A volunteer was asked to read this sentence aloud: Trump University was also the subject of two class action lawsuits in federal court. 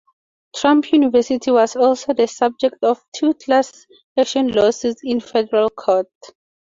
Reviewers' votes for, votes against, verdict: 4, 0, accepted